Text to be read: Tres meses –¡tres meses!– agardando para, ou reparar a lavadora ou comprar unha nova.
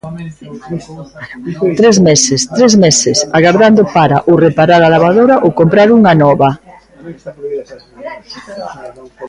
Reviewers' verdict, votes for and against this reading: rejected, 0, 2